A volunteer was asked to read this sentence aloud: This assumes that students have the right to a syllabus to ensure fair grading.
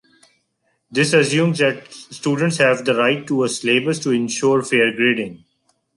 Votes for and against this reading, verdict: 0, 2, rejected